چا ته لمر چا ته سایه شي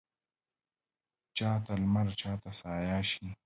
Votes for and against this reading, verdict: 1, 2, rejected